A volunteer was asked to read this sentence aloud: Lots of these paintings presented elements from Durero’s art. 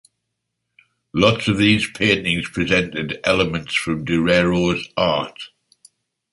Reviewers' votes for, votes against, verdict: 3, 0, accepted